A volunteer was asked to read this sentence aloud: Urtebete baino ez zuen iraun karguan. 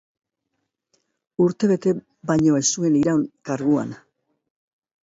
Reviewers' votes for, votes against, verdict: 0, 2, rejected